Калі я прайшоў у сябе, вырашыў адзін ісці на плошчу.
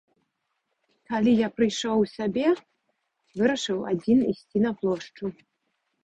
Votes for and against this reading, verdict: 2, 0, accepted